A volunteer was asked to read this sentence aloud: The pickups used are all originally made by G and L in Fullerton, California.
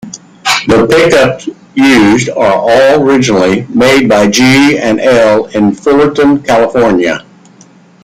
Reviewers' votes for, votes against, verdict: 2, 1, accepted